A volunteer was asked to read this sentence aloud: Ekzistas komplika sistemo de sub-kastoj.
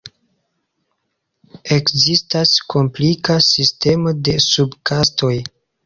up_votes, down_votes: 2, 0